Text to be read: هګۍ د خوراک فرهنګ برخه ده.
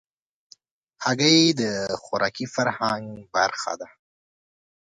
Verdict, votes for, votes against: rejected, 0, 2